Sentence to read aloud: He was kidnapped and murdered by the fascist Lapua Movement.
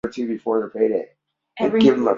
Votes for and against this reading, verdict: 0, 2, rejected